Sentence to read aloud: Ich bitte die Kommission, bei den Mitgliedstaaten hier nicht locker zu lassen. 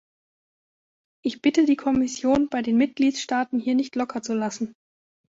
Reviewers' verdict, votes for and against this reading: accepted, 2, 0